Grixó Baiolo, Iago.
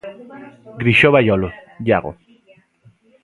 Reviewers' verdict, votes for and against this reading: accepted, 2, 0